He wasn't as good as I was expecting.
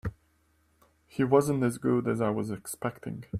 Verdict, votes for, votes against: accepted, 2, 0